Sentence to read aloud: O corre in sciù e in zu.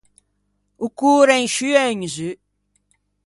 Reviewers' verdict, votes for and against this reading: rejected, 1, 2